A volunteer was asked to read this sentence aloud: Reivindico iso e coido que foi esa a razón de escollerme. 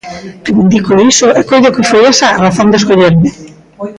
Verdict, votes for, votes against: rejected, 1, 2